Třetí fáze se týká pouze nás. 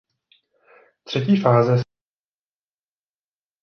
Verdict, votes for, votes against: rejected, 0, 2